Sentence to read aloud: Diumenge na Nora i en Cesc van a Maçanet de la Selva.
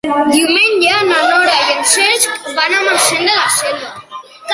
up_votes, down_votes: 0, 2